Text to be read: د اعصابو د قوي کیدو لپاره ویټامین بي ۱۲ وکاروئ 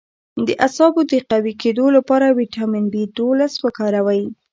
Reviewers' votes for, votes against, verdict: 0, 2, rejected